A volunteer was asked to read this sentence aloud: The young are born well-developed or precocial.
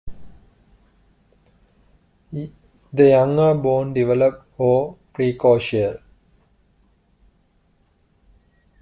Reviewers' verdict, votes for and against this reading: rejected, 0, 2